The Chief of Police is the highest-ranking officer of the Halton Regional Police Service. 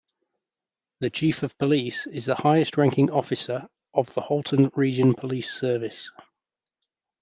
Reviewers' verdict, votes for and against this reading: rejected, 2, 3